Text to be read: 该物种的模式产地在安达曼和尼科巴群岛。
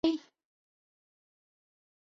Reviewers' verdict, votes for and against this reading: rejected, 0, 6